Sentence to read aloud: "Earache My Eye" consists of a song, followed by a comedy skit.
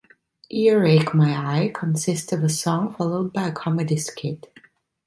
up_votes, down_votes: 3, 0